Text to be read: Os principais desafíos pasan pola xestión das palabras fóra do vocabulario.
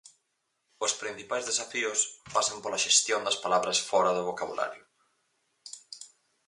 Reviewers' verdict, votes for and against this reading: accepted, 4, 0